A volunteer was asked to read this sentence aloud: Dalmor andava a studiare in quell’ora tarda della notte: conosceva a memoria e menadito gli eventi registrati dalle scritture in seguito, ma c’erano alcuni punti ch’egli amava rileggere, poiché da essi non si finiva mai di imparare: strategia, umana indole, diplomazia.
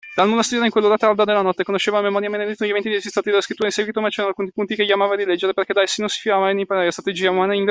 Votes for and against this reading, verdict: 0, 2, rejected